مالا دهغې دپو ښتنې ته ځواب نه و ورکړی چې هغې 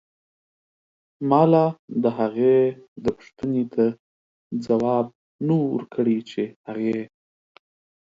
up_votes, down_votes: 4, 0